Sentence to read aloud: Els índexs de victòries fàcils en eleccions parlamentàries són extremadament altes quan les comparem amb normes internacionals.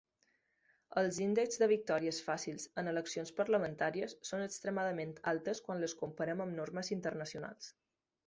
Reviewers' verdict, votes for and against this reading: accepted, 3, 0